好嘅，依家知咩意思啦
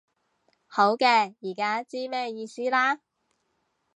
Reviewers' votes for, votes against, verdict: 1, 2, rejected